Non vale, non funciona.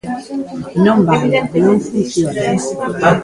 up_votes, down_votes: 0, 2